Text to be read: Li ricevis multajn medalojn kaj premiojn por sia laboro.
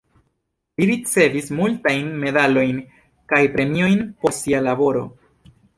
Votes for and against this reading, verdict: 2, 0, accepted